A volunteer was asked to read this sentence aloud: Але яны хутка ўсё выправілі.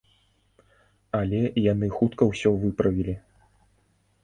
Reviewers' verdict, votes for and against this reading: accepted, 2, 0